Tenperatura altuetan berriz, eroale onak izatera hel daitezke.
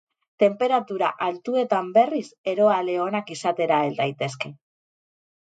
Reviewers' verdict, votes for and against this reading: accepted, 4, 0